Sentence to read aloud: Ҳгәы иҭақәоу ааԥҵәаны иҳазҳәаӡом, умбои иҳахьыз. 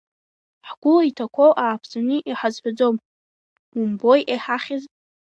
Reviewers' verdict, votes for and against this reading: accepted, 2, 1